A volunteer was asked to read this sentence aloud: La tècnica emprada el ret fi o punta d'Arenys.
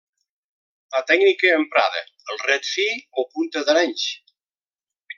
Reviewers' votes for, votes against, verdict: 1, 2, rejected